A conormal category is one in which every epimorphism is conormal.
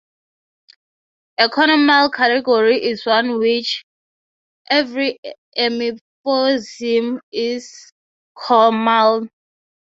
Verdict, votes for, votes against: accepted, 3, 0